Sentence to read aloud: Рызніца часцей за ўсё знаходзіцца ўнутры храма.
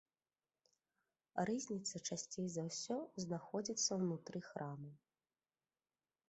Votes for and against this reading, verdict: 3, 0, accepted